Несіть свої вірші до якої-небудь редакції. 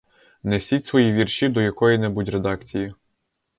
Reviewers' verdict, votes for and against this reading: rejected, 0, 2